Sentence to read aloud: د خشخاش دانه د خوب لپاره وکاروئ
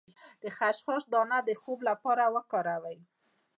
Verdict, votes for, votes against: accepted, 2, 0